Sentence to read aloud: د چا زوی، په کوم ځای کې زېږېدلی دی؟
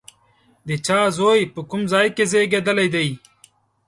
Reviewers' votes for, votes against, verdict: 4, 0, accepted